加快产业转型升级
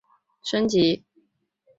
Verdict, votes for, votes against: rejected, 0, 3